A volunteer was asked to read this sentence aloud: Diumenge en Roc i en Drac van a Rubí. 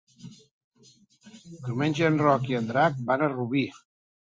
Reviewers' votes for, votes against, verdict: 3, 0, accepted